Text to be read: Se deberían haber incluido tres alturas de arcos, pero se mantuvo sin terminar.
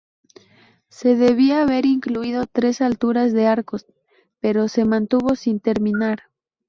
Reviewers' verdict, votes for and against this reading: rejected, 0, 2